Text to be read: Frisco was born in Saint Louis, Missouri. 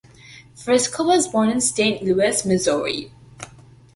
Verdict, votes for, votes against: accepted, 2, 0